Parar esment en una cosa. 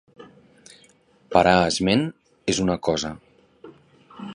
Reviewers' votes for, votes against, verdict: 0, 2, rejected